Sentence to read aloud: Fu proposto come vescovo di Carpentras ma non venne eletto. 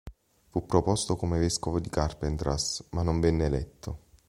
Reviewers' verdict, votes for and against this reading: accepted, 3, 0